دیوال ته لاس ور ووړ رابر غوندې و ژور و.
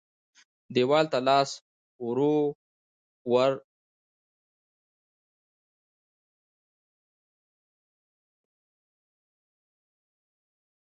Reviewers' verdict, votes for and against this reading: rejected, 1, 2